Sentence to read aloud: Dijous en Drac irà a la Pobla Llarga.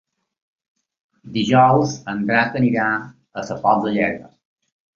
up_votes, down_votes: 0, 2